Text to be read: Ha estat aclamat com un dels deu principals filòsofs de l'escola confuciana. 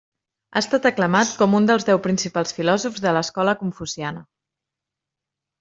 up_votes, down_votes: 3, 0